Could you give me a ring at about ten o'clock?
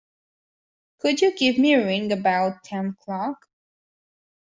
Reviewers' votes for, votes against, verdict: 0, 2, rejected